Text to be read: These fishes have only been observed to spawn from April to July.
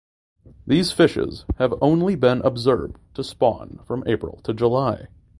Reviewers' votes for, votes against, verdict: 2, 0, accepted